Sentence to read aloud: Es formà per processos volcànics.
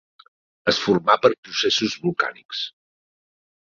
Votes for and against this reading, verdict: 4, 0, accepted